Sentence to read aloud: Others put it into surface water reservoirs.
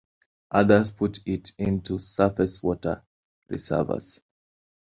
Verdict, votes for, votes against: rejected, 0, 2